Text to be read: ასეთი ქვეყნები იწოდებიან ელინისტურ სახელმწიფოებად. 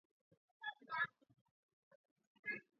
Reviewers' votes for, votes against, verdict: 0, 2, rejected